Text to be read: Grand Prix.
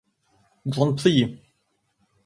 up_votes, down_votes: 2, 0